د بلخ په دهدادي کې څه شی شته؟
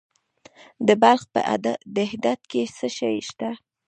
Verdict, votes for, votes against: accepted, 2, 1